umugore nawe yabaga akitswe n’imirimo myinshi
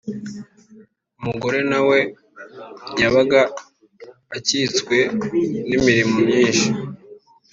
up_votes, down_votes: 2, 0